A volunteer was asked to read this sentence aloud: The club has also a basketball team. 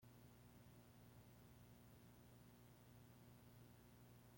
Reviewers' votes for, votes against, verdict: 0, 2, rejected